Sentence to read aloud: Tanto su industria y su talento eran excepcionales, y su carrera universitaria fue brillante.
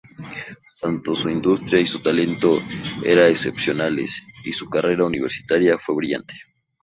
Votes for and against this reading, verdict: 0, 2, rejected